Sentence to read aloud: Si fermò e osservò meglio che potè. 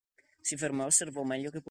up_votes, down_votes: 0, 2